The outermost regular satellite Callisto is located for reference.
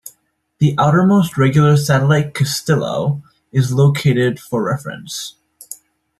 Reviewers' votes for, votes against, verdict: 0, 2, rejected